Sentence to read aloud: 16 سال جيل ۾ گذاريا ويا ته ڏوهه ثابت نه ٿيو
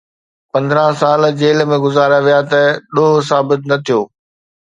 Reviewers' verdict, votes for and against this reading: rejected, 0, 2